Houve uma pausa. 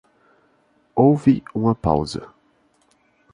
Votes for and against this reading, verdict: 2, 0, accepted